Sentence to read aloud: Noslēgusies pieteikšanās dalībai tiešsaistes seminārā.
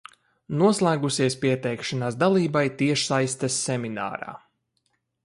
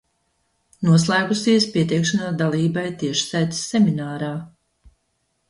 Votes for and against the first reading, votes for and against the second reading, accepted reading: 2, 0, 0, 2, first